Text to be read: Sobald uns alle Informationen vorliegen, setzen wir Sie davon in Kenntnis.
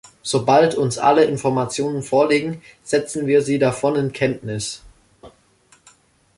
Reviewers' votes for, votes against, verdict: 2, 0, accepted